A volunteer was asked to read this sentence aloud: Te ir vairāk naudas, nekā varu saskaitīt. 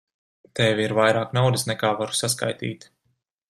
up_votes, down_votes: 0, 2